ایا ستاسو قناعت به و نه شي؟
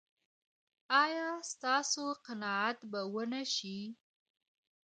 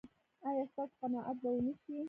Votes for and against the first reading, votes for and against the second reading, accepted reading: 2, 0, 0, 2, first